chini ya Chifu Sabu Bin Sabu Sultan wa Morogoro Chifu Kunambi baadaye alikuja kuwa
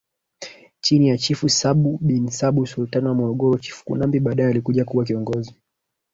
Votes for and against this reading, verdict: 1, 2, rejected